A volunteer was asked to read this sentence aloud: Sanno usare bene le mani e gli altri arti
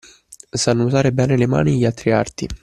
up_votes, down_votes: 2, 0